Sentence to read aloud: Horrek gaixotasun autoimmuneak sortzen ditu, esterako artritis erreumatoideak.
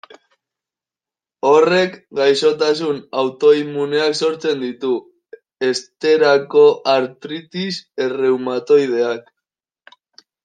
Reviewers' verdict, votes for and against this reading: accepted, 2, 0